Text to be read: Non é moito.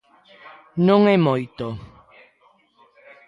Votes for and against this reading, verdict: 3, 2, accepted